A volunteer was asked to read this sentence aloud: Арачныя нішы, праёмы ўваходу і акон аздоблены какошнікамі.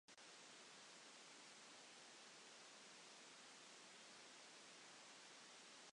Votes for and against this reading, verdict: 0, 2, rejected